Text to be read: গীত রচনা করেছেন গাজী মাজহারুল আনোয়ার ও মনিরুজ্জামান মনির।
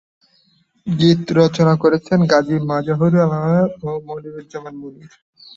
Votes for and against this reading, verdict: 0, 2, rejected